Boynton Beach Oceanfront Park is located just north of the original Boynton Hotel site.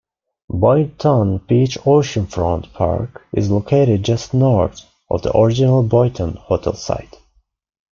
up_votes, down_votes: 2, 0